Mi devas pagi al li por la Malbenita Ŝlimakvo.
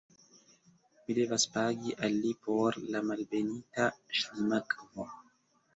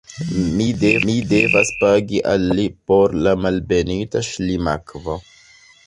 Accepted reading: first